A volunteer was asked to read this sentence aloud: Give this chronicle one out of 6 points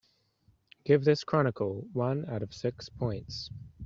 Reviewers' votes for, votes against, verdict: 0, 2, rejected